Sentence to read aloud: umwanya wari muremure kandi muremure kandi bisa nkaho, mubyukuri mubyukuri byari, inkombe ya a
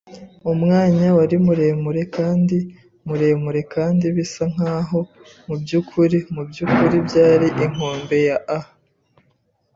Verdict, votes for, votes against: accepted, 2, 0